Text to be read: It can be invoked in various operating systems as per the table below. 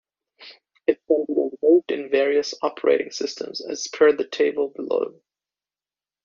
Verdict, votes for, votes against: rejected, 0, 2